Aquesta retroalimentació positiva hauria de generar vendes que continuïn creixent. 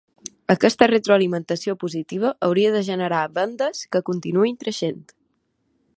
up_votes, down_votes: 6, 0